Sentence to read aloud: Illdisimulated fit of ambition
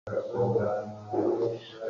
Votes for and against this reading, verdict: 0, 2, rejected